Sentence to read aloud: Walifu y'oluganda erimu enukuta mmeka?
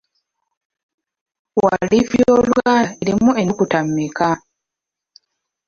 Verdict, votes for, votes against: rejected, 0, 2